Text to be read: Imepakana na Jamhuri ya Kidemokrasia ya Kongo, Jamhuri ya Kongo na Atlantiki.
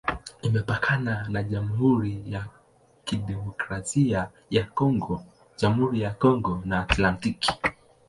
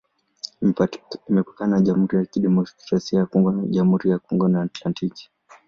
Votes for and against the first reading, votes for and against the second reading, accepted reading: 2, 0, 0, 2, first